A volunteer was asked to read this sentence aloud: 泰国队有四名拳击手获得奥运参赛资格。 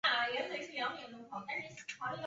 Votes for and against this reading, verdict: 0, 2, rejected